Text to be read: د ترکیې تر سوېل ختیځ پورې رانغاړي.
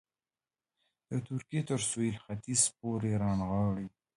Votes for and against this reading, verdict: 2, 1, accepted